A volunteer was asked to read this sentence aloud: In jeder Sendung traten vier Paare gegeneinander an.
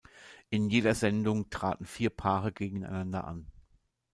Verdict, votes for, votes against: accepted, 2, 0